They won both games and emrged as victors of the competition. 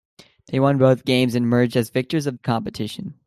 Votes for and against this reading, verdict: 1, 2, rejected